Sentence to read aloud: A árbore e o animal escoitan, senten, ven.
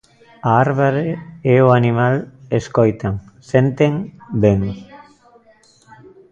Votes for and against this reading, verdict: 0, 2, rejected